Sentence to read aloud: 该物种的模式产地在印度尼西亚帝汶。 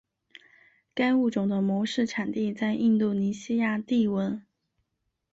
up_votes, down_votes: 2, 0